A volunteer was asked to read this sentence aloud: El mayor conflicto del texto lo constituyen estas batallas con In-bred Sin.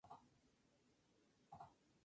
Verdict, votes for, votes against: rejected, 0, 2